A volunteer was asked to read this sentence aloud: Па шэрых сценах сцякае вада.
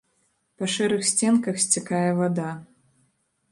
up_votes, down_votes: 0, 3